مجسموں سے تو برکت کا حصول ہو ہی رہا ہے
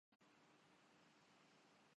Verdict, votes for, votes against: rejected, 1, 3